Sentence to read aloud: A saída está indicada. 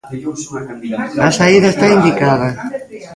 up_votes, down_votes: 1, 2